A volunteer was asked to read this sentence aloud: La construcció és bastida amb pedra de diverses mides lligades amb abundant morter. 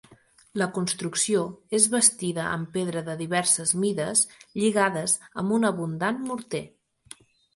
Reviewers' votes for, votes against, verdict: 0, 2, rejected